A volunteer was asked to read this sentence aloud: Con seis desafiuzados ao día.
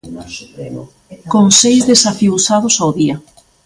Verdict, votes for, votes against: accepted, 2, 1